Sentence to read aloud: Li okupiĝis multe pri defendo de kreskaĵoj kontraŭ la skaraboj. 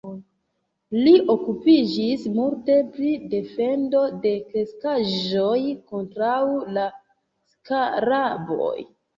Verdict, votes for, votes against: accepted, 2, 1